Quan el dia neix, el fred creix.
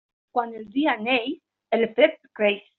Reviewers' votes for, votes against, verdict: 3, 0, accepted